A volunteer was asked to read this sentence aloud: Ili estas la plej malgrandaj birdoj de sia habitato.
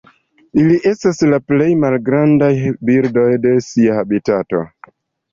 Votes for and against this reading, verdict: 2, 0, accepted